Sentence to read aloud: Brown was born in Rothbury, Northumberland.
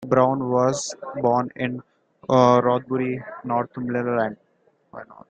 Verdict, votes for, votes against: rejected, 1, 2